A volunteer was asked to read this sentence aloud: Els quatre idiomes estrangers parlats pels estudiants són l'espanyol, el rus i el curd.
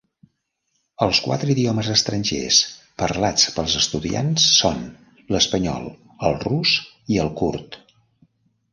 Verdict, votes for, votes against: rejected, 0, 2